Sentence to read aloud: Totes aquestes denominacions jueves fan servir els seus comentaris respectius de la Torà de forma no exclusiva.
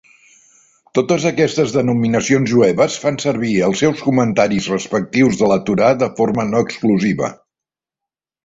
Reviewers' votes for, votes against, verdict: 2, 0, accepted